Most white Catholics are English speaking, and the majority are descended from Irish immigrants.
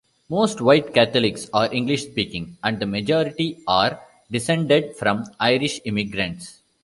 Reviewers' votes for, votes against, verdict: 2, 0, accepted